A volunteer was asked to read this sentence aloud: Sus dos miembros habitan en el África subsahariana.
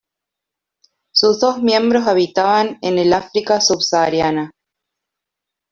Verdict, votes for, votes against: rejected, 1, 2